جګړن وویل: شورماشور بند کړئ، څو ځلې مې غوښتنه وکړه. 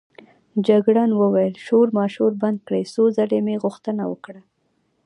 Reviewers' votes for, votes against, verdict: 0, 2, rejected